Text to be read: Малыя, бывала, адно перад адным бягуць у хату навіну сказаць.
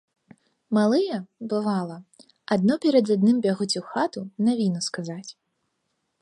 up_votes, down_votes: 2, 1